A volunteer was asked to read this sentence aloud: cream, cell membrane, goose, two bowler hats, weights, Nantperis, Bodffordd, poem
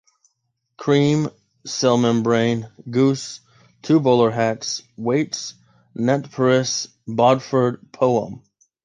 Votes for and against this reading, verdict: 2, 0, accepted